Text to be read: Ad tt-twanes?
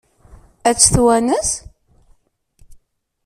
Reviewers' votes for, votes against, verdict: 2, 0, accepted